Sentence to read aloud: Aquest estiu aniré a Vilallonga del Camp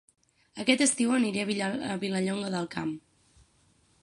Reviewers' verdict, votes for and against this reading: rejected, 0, 6